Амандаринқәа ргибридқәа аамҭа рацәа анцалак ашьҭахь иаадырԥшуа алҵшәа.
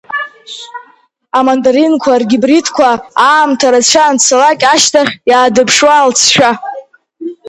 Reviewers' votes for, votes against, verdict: 3, 2, accepted